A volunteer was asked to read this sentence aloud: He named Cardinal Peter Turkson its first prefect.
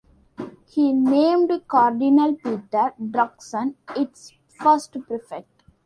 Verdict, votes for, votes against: accepted, 2, 1